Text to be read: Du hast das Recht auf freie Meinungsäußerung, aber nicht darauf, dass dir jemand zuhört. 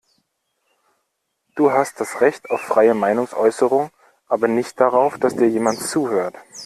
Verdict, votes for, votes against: accepted, 2, 0